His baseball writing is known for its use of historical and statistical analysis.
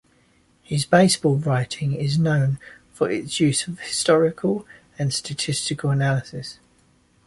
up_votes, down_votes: 2, 0